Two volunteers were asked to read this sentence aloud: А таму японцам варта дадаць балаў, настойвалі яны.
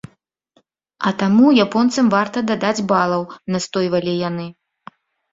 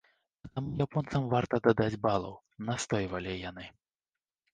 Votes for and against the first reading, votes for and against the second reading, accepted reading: 3, 0, 1, 2, first